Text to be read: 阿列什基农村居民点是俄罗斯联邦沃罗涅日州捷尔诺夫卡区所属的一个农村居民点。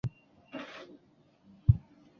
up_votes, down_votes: 0, 3